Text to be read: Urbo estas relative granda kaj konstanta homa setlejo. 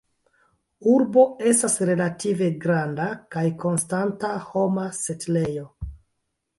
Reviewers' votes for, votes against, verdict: 0, 2, rejected